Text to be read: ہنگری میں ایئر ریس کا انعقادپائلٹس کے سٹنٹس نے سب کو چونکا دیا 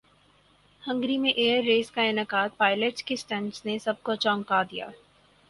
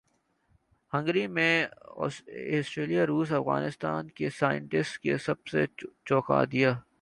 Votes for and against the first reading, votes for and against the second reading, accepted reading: 6, 0, 0, 2, first